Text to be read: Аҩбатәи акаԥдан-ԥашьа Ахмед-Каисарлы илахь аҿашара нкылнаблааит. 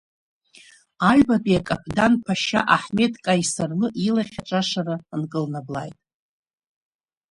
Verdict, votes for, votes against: rejected, 1, 2